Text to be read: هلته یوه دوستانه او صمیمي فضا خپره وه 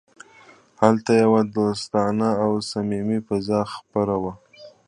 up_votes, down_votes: 2, 0